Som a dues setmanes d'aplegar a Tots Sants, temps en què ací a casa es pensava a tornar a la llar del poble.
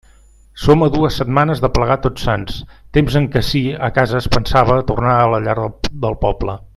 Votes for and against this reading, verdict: 0, 2, rejected